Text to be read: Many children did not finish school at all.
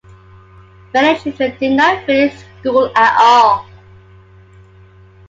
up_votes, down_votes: 2, 0